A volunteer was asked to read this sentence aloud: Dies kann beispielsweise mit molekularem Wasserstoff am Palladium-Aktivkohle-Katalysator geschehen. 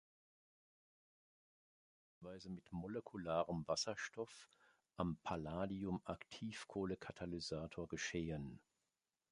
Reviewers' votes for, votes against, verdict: 0, 2, rejected